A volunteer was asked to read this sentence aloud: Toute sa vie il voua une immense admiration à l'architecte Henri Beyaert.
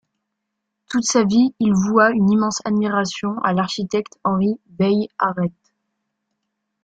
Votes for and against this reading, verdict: 1, 2, rejected